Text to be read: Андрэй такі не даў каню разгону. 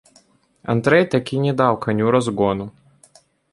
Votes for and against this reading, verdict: 2, 0, accepted